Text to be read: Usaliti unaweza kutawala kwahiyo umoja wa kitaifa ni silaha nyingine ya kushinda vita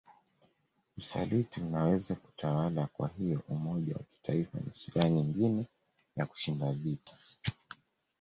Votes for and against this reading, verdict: 2, 0, accepted